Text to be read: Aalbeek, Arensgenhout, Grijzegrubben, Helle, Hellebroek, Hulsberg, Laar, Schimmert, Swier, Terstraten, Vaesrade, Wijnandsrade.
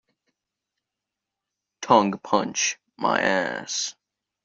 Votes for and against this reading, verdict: 0, 2, rejected